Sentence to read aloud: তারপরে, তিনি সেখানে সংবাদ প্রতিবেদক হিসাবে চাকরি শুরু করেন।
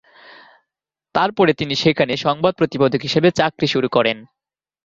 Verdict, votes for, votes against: accepted, 2, 0